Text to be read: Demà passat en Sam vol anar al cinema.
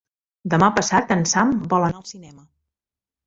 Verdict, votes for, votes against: rejected, 1, 2